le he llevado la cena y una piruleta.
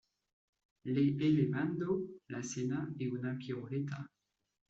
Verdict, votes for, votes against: rejected, 0, 2